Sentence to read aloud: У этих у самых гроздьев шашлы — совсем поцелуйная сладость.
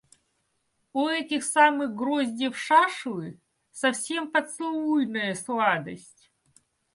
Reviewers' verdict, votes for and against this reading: rejected, 0, 2